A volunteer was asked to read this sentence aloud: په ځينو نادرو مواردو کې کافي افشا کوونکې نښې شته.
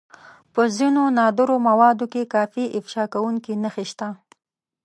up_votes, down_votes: 2, 1